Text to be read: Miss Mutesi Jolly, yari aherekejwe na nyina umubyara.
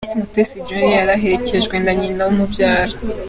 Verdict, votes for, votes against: accepted, 2, 0